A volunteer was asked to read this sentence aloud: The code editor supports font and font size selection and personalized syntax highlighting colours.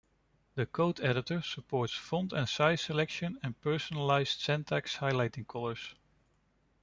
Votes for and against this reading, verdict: 0, 2, rejected